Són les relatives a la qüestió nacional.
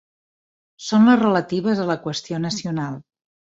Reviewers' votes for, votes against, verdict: 3, 0, accepted